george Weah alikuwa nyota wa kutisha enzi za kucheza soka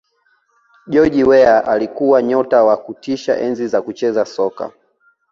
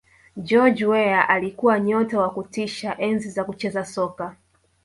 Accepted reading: first